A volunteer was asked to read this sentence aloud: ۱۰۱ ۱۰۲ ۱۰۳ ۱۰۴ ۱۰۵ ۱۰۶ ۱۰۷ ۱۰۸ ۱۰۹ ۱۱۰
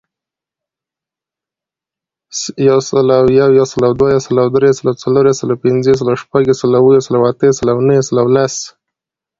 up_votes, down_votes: 0, 2